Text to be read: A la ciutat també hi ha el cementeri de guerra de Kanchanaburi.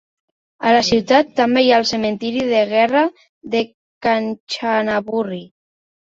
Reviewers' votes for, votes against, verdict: 2, 3, rejected